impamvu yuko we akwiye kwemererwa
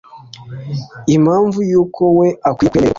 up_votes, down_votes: 2, 0